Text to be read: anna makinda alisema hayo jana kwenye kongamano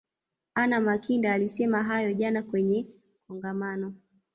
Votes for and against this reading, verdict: 2, 0, accepted